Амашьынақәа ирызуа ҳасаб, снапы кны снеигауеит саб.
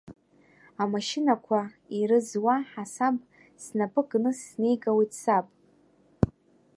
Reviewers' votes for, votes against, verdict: 1, 2, rejected